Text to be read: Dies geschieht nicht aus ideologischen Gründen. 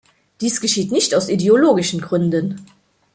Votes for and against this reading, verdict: 2, 0, accepted